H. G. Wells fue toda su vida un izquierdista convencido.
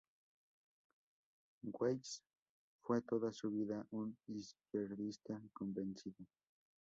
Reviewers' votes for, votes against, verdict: 0, 2, rejected